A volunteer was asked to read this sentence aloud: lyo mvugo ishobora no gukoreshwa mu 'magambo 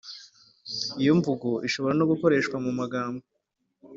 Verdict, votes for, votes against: accepted, 2, 0